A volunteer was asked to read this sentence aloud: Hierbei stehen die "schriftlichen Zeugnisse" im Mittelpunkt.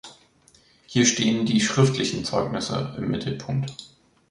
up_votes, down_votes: 0, 2